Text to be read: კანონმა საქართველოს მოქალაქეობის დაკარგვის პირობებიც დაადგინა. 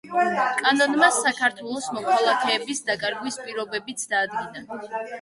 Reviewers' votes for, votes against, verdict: 0, 2, rejected